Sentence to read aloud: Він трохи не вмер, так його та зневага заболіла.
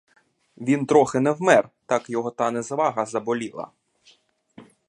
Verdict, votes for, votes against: rejected, 0, 2